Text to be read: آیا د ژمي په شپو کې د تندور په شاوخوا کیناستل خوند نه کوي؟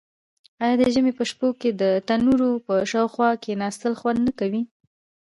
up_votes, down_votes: 2, 0